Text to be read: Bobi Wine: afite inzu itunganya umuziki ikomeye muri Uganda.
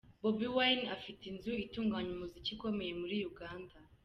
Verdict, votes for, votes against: accepted, 2, 1